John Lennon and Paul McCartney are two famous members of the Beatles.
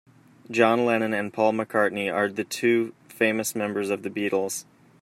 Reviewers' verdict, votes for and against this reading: rejected, 1, 2